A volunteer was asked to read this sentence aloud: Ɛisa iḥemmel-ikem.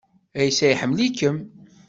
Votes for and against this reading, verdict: 2, 0, accepted